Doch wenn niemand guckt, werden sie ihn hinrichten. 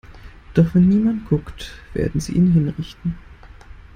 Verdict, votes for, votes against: accepted, 2, 0